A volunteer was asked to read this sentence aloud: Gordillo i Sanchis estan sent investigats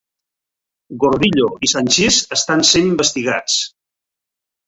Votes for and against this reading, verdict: 2, 1, accepted